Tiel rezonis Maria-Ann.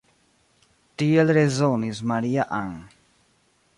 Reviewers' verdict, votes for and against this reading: accepted, 2, 1